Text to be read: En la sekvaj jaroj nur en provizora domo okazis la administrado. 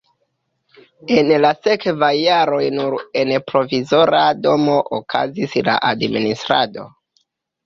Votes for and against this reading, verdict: 0, 2, rejected